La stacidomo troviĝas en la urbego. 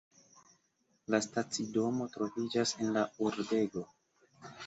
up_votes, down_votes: 3, 1